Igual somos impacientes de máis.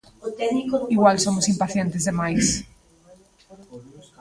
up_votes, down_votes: 0, 2